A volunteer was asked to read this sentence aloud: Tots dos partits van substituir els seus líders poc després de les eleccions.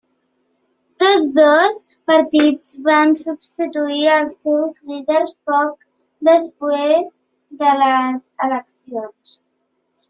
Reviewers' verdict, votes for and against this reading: rejected, 1, 3